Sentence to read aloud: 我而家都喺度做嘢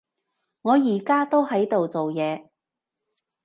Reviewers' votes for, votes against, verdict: 2, 0, accepted